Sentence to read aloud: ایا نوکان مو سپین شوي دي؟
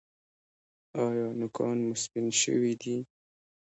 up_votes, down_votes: 2, 0